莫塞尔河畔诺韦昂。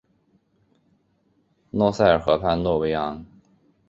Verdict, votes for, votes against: accepted, 3, 0